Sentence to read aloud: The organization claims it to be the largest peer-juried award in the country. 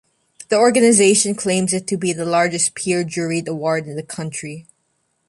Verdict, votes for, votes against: accepted, 2, 0